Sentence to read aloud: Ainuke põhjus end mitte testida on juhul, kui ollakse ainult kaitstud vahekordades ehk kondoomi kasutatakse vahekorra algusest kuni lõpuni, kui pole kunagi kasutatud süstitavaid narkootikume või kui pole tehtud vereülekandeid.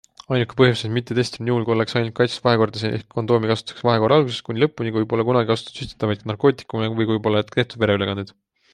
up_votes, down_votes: 0, 2